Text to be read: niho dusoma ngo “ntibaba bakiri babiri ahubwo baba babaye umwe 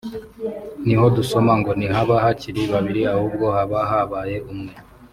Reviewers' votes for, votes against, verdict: 2, 0, accepted